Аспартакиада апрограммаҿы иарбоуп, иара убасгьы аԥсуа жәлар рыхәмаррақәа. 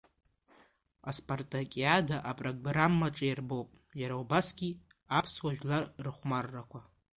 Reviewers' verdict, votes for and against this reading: rejected, 1, 2